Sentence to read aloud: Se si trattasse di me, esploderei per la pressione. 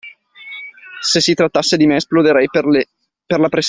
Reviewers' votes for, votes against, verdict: 0, 2, rejected